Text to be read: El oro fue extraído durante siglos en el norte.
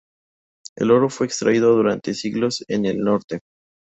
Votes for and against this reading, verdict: 4, 0, accepted